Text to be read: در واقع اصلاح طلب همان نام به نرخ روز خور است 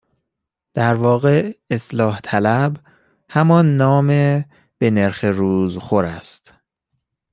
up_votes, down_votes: 2, 0